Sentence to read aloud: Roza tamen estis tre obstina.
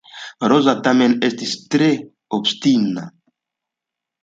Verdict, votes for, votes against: accepted, 2, 0